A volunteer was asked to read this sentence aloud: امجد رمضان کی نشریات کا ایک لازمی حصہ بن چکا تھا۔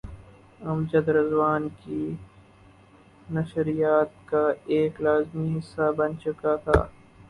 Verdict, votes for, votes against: rejected, 0, 2